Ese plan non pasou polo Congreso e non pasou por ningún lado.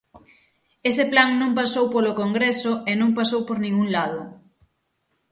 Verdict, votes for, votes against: accepted, 6, 0